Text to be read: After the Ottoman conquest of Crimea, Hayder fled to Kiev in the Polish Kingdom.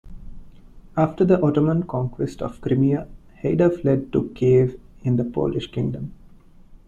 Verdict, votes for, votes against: accepted, 2, 0